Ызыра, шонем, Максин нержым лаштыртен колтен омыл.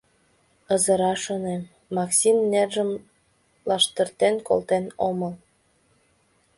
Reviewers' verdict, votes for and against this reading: accepted, 2, 0